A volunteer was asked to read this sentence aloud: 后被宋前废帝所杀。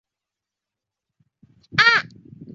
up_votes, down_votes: 0, 3